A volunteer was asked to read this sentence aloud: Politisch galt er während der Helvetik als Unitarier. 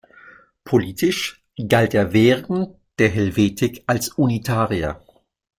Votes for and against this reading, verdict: 1, 2, rejected